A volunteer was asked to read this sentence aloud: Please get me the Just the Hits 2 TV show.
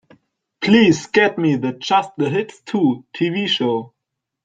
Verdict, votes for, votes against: rejected, 0, 2